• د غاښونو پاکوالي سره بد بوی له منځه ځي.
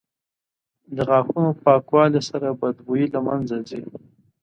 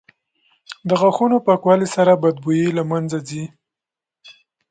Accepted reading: second